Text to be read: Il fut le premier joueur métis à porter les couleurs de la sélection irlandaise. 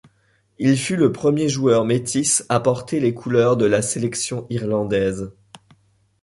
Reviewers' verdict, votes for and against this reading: accepted, 2, 0